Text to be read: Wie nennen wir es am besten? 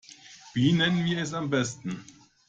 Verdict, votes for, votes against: rejected, 1, 2